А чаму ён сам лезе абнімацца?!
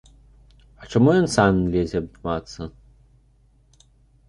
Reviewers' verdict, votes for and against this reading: rejected, 1, 2